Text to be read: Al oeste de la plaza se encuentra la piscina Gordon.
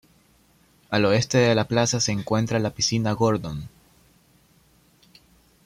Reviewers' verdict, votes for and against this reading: accepted, 2, 0